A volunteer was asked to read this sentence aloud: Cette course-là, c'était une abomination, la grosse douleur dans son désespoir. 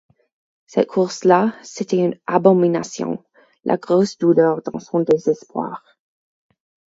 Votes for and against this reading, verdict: 4, 0, accepted